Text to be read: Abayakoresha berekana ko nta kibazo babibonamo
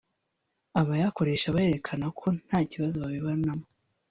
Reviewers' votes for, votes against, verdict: 0, 2, rejected